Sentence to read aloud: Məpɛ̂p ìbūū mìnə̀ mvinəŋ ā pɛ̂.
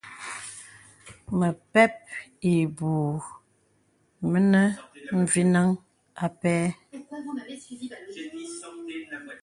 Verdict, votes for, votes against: accepted, 2, 0